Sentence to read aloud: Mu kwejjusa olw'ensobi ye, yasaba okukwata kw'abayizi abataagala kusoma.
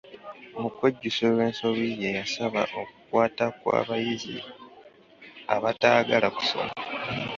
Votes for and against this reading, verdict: 2, 0, accepted